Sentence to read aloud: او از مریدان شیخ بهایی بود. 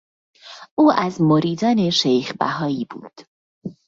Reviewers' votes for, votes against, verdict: 2, 0, accepted